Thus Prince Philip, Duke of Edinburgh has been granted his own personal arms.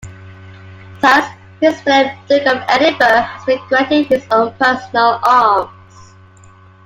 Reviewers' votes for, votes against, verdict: 1, 2, rejected